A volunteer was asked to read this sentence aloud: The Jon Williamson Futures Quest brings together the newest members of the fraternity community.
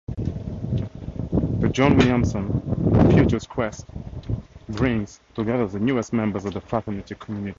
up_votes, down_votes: 2, 2